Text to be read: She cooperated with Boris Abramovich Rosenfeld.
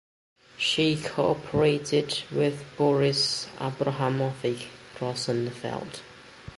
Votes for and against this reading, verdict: 2, 1, accepted